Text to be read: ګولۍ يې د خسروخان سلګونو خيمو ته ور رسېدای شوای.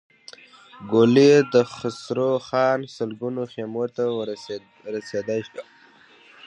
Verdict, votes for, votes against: accepted, 2, 0